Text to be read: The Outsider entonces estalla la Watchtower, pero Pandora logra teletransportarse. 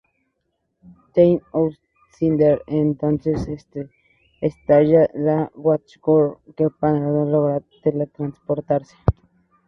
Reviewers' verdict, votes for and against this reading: rejected, 2, 4